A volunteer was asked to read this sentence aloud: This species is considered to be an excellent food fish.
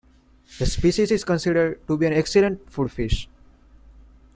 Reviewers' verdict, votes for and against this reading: accepted, 2, 0